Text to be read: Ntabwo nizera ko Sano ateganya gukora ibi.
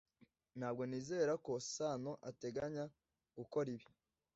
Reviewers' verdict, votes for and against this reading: accepted, 2, 0